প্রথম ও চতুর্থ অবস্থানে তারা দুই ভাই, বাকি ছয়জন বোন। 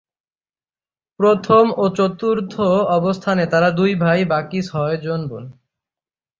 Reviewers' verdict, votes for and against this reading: accepted, 3, 0